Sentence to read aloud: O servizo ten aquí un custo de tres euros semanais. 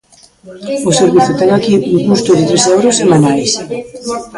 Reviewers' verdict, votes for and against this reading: rejected, 0, 2